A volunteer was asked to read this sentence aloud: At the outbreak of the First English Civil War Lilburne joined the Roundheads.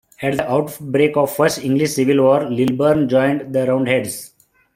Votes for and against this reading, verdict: 1, 2, rejected